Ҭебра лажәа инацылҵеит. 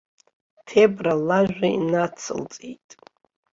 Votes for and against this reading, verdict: 2, 1, accepted